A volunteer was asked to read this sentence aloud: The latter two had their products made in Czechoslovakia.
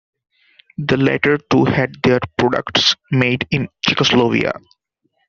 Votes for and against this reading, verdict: 0, 2, rejected